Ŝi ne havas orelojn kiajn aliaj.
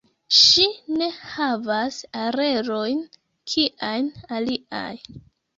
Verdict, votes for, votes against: accepted, 2, 1